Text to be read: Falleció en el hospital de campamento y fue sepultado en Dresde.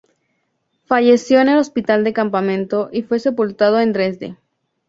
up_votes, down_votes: 2, 0